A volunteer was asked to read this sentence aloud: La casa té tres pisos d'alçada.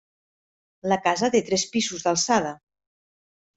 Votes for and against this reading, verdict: 1, 2, rejected